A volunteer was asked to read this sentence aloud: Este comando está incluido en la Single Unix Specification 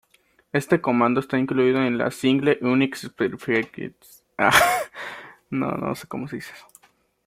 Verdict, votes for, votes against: rejected, 0, 2